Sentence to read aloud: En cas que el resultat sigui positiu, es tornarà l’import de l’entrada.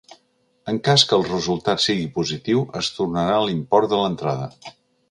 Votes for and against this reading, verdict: 2, 0, accepted